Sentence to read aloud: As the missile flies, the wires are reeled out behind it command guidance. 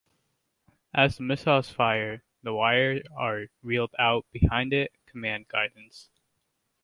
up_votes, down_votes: 1, 2